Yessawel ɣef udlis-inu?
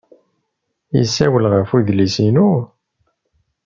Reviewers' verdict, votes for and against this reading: accepted, 2, 0